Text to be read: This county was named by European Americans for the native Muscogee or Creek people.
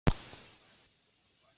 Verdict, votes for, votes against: rejected, 0, 2